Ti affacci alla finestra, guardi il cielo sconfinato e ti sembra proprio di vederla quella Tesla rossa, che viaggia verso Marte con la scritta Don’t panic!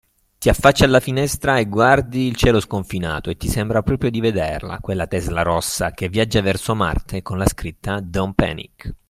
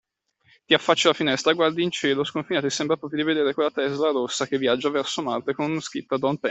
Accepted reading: first